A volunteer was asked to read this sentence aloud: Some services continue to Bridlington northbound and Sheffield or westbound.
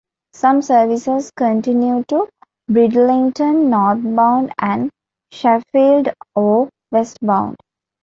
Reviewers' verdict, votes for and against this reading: accepted, 2, 1